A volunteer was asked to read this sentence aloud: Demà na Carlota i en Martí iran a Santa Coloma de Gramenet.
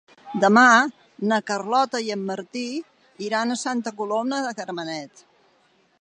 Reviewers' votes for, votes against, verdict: 2, 0, accepted